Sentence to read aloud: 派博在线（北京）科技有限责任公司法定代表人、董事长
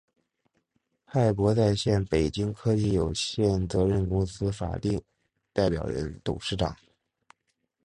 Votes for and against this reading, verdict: 2, 0, accepted